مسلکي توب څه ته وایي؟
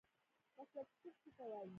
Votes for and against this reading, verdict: 0, 2, rejected